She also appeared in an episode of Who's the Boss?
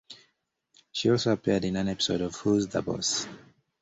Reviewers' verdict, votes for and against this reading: accepted, 2, 0